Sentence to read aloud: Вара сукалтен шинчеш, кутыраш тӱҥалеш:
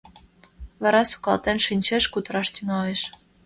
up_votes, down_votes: 2, 0